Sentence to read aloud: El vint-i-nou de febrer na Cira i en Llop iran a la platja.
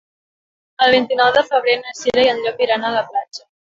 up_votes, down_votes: 0, 3